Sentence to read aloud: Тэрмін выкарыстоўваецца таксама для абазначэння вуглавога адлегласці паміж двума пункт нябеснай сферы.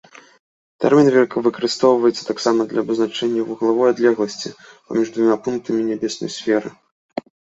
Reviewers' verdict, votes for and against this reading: rejected, 0, 3